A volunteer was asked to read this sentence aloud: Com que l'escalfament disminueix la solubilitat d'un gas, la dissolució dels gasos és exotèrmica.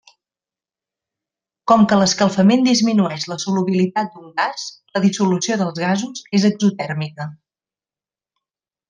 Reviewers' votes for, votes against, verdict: 0, 2, rejected